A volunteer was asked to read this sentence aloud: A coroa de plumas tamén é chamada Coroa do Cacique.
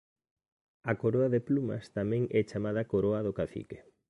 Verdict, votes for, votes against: accepted, 2, 1